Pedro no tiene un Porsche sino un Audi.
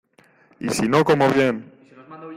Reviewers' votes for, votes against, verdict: 0, 2, rejected